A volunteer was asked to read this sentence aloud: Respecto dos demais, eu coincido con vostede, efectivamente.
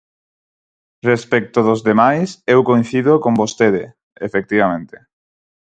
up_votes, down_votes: 4, 0